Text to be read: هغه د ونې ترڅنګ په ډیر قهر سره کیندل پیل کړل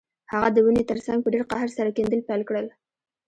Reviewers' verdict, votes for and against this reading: rejected, 0, 2